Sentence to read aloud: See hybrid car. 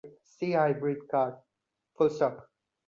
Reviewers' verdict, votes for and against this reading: rejected, 0, 2